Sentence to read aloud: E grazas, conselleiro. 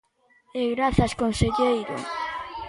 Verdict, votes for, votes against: rejected, 0, 2